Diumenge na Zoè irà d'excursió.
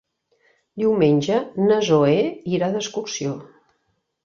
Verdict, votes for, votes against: rejected, 1, 2